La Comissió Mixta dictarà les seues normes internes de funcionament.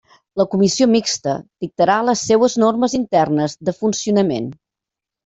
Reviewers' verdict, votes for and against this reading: accepted, 3, 0